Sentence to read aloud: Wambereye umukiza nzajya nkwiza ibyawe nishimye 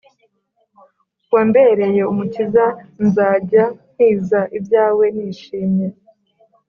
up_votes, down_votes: 2, 0